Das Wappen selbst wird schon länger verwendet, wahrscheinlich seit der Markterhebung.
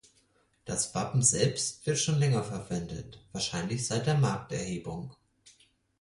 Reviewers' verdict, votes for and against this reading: accepted, 4, 0